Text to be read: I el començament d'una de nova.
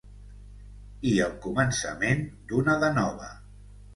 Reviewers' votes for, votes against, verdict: 2, 0, accepted